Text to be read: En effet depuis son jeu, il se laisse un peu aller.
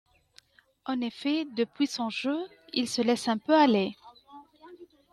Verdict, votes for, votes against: accepted, 2, 0